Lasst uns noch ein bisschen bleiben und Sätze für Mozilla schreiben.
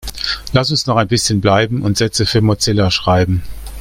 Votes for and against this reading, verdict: 1, 2, rejected